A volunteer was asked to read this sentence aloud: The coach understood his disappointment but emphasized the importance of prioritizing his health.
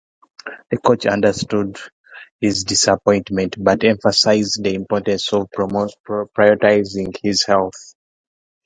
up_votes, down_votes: 0, 3